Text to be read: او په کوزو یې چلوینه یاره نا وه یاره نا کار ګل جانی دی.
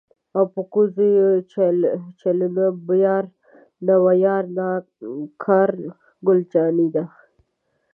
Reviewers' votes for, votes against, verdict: 2, 1, accepted